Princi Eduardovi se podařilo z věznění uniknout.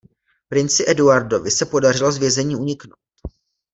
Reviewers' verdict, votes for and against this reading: rejected, 1, 2